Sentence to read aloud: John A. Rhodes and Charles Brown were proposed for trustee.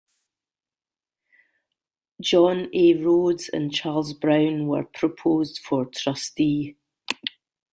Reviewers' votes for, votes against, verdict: 2, 0, accepted